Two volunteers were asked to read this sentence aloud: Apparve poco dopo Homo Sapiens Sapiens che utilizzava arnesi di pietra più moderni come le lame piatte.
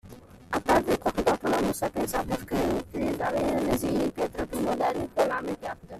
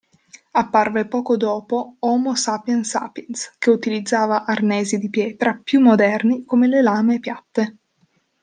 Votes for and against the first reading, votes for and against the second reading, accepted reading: 0, 2, 2, 0, second